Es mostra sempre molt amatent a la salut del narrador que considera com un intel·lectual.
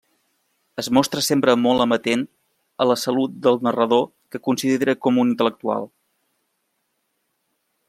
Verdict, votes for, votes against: accepted, 2, 0